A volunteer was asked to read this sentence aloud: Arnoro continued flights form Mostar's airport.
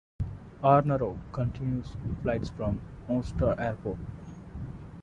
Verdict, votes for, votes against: rejected, 1, 2